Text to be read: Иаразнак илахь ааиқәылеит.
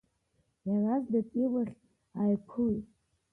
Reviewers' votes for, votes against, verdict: 1, 2, rejected